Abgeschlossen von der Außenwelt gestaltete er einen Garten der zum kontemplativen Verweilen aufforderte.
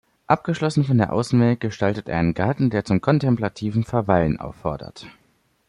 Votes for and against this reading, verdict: 0, 2, rejected